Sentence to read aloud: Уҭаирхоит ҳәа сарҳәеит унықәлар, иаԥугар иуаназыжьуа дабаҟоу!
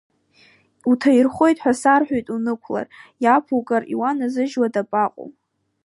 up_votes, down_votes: 2, 0